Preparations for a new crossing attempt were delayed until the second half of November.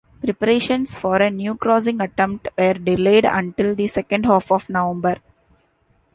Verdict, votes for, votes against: rejected, 1, 2